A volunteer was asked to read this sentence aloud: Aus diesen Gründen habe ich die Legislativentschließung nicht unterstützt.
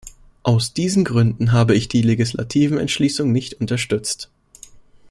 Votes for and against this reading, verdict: 1, 2, rejected